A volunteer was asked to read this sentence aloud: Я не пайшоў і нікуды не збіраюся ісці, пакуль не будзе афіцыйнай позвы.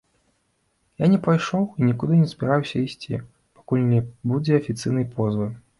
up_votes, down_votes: 2, 1